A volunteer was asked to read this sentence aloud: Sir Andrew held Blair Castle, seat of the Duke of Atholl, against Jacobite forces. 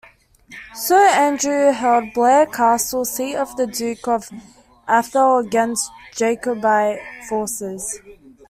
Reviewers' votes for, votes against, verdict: 2, 1, accepted